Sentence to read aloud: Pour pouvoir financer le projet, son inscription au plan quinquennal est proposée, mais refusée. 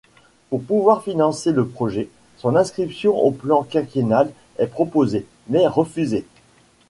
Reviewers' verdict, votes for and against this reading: accepted, 2, 0